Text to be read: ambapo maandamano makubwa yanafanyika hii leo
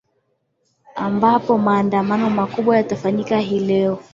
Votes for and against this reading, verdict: 2, 1, accepted